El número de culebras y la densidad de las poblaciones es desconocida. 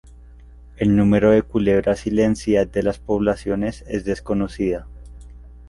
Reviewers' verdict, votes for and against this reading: rejected, 0, 2